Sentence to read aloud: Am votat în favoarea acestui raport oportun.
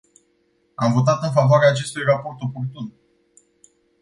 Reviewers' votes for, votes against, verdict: 2, 0, accepted